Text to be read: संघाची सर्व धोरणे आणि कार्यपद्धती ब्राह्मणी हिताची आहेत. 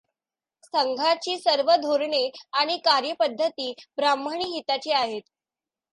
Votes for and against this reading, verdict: 2, 0, accepted